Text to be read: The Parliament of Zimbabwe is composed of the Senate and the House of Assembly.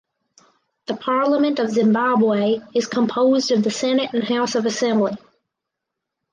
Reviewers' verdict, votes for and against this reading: rejected, 2, 4